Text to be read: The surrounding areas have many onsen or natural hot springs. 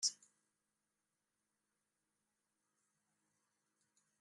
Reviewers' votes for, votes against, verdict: 1, 2, rejected